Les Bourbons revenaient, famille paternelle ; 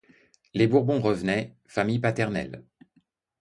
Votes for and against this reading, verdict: 2, 0, accepted